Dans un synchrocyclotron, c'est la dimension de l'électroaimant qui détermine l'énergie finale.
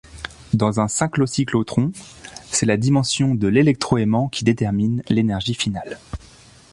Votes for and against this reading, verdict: 0, 2, rejected